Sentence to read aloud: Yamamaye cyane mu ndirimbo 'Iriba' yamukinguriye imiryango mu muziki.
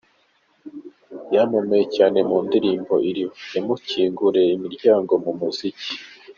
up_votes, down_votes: 2, 0